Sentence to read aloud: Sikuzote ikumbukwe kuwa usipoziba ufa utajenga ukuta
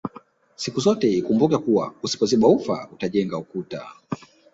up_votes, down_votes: 4, 0